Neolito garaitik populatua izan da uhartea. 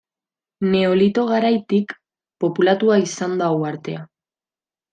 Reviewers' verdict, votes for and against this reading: accepted, 2, 0